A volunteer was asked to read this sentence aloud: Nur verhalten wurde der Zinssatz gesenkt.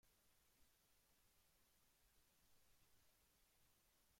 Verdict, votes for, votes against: rejected, 0, 2